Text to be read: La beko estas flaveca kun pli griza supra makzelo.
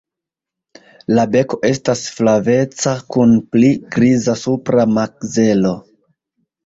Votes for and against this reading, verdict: 2, 0, accepted